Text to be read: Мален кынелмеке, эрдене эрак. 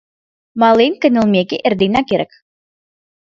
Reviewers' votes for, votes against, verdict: 1, 2, rejected